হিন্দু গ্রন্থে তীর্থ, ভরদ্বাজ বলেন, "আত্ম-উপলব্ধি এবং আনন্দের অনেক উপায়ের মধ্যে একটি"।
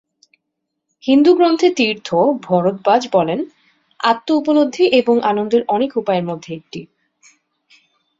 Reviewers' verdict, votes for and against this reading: accepted, 2, 0